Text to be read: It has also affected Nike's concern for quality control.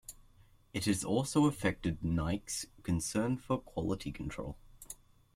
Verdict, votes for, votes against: rejected, 1, 2